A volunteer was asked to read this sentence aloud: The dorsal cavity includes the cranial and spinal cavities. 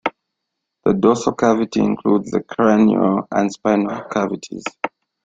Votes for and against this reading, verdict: 2, 0, accepted